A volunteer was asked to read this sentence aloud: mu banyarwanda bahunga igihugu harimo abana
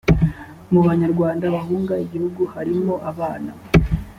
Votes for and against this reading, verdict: 2, 0, accepted